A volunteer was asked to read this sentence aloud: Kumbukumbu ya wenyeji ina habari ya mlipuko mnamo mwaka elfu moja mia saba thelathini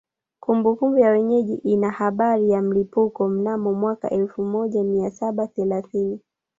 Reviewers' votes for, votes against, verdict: 0, 2, rejected